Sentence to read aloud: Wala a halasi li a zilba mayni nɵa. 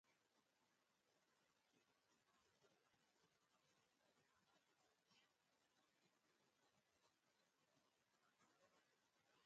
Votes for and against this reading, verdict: 0, 2, rejected